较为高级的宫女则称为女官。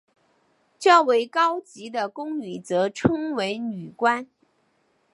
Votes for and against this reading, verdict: 2, 0, accepted